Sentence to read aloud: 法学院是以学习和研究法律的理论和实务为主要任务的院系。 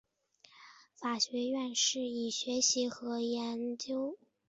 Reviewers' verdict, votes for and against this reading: rejected, 0, 2